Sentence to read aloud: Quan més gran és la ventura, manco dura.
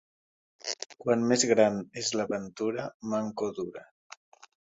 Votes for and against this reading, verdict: 2, 1, accepted